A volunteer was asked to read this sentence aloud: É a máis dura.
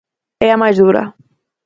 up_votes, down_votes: 4, 0